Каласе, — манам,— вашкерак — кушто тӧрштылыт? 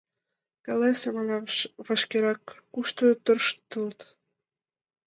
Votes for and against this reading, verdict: 0, 2, rejected